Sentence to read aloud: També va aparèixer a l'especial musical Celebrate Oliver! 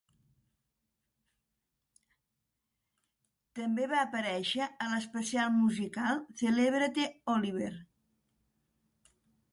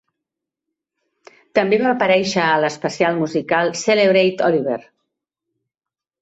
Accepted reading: second